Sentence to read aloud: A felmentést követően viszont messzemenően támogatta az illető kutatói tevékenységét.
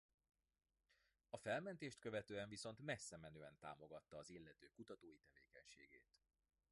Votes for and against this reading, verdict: 2, 1, accepted